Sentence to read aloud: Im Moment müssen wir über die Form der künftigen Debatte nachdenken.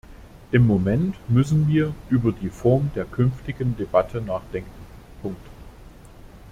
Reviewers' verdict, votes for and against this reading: rejected, 0, 2